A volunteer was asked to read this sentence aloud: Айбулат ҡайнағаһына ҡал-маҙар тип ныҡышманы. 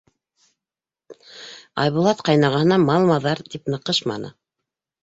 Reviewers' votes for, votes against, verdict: 1, 2, rejected